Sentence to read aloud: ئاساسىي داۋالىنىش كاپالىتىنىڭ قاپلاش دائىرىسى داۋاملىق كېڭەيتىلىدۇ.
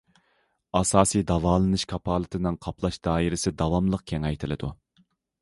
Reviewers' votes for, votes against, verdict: 2, 0, accepted